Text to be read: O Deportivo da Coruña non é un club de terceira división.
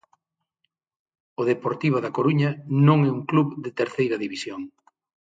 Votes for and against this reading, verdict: 6, 0, accepted